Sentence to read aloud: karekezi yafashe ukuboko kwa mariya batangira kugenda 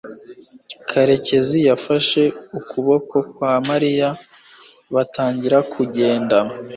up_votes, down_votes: 2, 0